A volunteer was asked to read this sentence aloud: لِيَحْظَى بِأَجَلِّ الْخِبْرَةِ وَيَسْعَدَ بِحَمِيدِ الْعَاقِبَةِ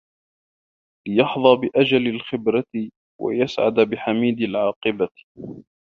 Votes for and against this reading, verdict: 2, 1, accepted